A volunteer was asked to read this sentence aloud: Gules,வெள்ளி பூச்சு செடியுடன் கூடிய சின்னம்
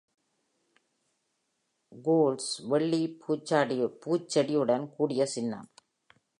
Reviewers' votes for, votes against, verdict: 1, 2, rejected